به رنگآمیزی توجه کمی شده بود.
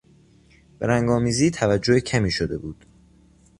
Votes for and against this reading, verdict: 2, 0, accepted